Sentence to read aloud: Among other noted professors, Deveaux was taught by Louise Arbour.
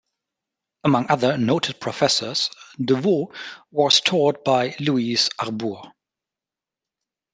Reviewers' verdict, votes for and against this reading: accepted, 2, 0